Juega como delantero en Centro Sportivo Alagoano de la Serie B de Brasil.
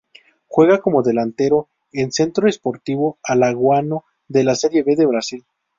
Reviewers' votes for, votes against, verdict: 0, 2, rejected